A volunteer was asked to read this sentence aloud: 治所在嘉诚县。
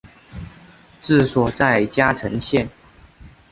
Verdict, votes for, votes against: rejected, 0, 2